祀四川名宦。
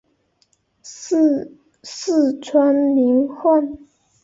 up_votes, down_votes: 4, 1